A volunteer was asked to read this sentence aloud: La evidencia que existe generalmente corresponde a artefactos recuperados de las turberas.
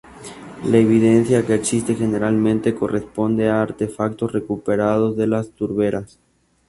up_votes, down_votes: 2, 0